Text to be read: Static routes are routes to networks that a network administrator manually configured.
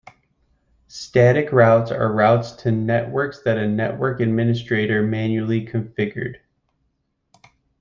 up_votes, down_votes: 2, 0